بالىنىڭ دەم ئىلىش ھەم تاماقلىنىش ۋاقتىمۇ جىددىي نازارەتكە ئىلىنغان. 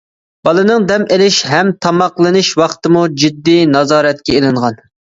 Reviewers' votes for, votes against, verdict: 2, 0, accepted